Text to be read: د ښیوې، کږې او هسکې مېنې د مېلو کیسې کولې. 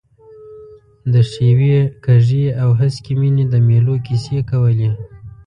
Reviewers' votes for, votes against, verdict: 1, 2, rejected